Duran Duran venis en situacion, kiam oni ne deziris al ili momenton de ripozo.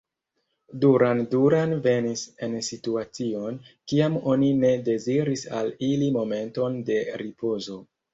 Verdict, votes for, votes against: accepted, 2, 0